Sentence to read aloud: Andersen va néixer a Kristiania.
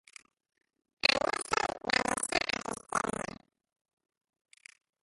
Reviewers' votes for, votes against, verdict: 0, 2, rejected